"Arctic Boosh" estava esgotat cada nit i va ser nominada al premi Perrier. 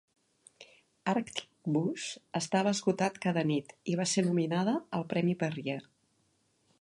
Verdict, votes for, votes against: accepted, 2, 0